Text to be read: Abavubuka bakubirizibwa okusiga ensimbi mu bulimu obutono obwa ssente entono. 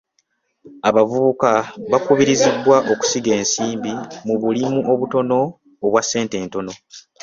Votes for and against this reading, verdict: 2, 0, accepted